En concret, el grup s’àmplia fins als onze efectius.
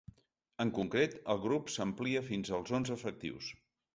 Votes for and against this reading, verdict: 3, 0, accepted